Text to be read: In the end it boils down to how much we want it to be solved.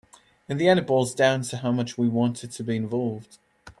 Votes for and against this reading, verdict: 0, 2, rejected